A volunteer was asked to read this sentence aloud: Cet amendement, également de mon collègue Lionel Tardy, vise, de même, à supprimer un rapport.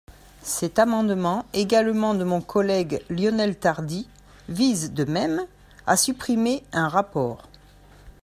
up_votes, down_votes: 2, 0